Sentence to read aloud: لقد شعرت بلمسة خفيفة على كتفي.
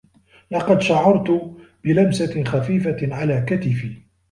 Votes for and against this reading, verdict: 1, 2, rejected